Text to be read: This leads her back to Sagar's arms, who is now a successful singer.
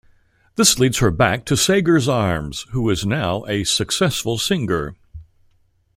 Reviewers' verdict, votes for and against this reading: accepted, 2, 0